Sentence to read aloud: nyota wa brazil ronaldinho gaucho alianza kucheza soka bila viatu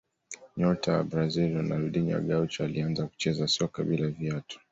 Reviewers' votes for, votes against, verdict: 2, 0, accepted